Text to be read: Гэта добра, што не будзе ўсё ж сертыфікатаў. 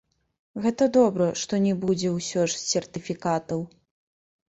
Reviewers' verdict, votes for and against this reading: accepted, 2, 1